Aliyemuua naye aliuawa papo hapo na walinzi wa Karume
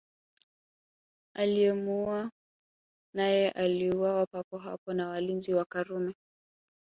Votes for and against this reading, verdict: 1, 3, rejected